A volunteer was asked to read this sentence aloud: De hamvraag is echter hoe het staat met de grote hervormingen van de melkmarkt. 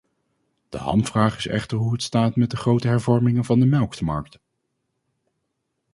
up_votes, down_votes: 0, 2